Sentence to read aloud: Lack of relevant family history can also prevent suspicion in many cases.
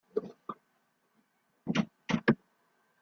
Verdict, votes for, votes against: rejected, 0, 2